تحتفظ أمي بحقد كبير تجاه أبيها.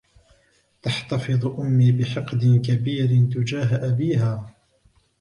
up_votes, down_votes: 0, 2